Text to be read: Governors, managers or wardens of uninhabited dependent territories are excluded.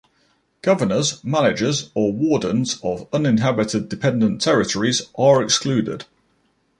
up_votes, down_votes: 1, 2